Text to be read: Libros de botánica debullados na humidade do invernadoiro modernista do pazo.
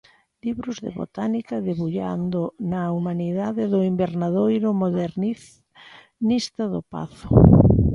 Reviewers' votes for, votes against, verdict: 0, 2, rejected